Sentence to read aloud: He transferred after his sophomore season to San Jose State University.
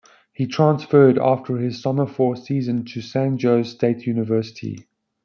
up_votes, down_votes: 1, 2